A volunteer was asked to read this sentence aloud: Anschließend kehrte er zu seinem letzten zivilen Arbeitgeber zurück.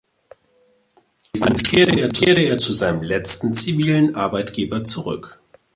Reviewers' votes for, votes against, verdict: 0, 2, rejected